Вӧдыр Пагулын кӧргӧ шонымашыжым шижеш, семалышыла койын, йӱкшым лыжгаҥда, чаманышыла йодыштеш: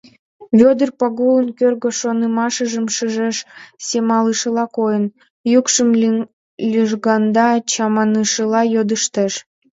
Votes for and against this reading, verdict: 2, 0, accepted